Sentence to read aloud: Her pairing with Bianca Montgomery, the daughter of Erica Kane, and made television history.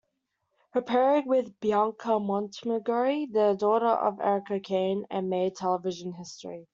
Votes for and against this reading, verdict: 0, 2, rejected